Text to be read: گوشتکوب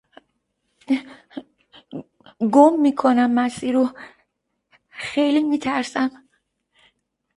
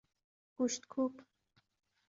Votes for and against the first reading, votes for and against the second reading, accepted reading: 0, 2, 2, 0, second